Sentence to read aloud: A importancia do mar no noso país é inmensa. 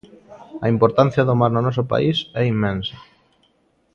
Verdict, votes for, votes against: accepted, 2, 0